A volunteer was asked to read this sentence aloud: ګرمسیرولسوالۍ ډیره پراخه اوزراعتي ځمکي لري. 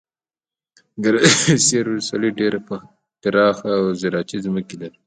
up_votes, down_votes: 1, 2